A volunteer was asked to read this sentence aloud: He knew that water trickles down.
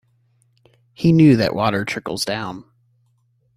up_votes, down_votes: 3, 0